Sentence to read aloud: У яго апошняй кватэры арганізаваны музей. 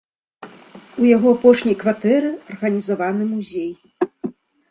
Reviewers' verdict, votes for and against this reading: accepted, 2, 0